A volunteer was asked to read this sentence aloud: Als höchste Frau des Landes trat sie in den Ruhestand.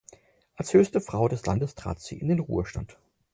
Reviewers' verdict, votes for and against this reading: accepted, 4, 0